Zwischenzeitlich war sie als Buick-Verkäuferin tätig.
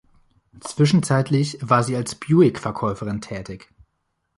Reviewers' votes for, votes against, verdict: 2, 0, accepted